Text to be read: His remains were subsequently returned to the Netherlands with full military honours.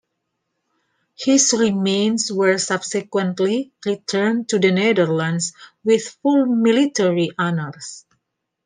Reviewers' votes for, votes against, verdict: 2, 0, accepted